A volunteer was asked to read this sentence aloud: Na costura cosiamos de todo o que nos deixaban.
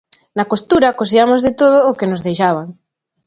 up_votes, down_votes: 2, 0